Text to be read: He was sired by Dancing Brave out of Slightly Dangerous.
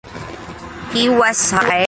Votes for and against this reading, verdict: 0, 2, rejected